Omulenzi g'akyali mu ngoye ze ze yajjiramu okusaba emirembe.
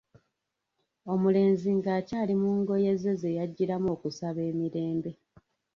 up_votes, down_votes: 0, 2